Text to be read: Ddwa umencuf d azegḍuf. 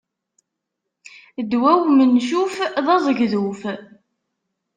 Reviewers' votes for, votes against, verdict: 0, 2, rejected